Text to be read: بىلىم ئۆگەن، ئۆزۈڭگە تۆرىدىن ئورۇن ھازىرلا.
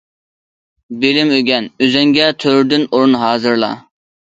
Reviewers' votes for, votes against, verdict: 2, 0, accepted